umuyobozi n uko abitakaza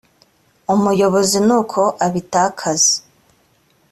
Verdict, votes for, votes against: accepted, 2, 0